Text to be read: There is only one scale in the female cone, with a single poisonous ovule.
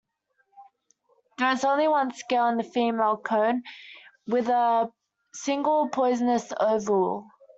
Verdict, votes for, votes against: rejected, 0, 2